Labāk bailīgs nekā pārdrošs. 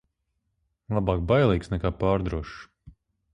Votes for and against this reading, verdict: 6, 0, accepted